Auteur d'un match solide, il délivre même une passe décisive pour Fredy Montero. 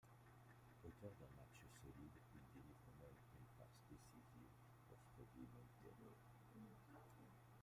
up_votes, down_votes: 1, 2